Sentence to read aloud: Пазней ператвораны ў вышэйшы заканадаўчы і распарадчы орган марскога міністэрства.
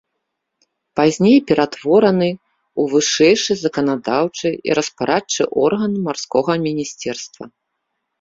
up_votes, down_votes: 1, 2